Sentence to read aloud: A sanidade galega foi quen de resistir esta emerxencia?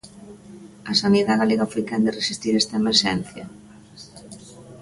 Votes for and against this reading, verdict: 1, 2, rejected